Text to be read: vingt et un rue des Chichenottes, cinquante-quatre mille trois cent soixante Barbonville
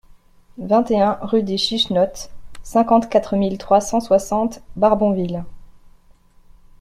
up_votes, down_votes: 2, 0